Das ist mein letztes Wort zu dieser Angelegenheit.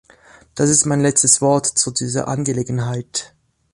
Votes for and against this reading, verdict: 2, 1, accepted